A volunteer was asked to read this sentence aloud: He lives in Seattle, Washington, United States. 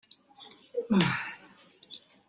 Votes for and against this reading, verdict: 0, 2, rejected